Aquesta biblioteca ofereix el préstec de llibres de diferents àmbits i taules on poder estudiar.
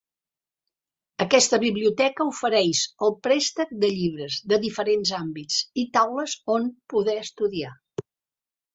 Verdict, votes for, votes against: accepted, 2, 0